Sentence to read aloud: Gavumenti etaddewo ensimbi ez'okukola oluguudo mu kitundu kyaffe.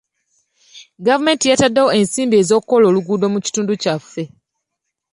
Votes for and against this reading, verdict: 0, 2, rejected